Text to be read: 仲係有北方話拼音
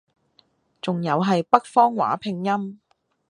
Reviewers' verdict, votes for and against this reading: accepted, 2, 1